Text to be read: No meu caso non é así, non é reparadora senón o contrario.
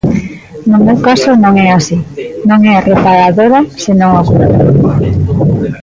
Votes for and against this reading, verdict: 0, 2, rejected